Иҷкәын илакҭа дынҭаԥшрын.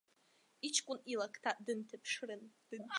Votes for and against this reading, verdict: 1, 2, rejected